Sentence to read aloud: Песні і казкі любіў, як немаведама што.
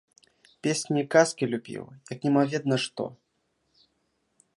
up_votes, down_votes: 0, 2